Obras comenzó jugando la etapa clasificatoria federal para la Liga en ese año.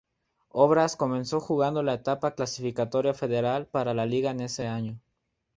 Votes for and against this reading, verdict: 2, 0, accepted